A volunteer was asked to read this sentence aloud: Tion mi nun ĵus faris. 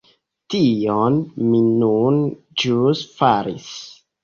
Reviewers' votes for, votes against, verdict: 0, 2, rejected